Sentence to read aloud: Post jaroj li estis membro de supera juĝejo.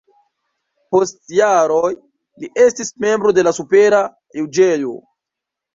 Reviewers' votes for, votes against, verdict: 0, 2, rejected